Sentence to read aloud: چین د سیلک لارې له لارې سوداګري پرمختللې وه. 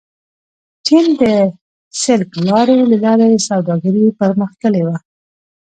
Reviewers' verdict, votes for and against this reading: rejected, 0, 2